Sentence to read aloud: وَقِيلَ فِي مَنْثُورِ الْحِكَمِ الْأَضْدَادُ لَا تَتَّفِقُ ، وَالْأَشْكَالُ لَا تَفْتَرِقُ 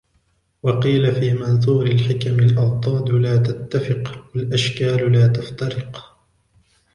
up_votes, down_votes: 1, 2